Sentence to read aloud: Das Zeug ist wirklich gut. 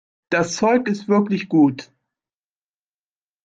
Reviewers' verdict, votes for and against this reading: accepted, 2, 0